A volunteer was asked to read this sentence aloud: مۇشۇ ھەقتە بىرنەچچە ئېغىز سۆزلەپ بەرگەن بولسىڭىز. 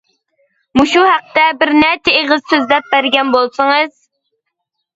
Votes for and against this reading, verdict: 2, 0, accepted